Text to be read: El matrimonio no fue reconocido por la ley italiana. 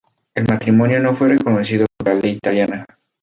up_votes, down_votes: 2, 2